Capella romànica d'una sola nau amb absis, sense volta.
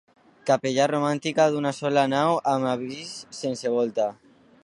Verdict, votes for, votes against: rejected, 1, 2